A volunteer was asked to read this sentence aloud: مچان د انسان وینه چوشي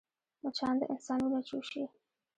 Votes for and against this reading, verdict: 2, 1, accepted